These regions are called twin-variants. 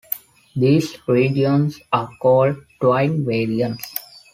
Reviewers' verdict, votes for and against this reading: rejected, 0, 2